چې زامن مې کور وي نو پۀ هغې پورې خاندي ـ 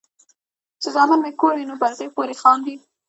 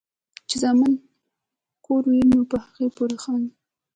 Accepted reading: first